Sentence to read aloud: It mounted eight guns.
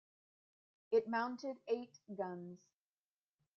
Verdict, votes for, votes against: accepted, 2, 0